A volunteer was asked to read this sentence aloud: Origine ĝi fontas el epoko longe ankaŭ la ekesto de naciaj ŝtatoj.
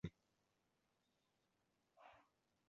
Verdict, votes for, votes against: rejected, 0, 2